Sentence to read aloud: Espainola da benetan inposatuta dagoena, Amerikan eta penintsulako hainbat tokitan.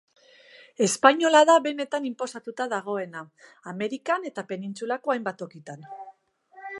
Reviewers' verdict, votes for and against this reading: accepted, 2, 0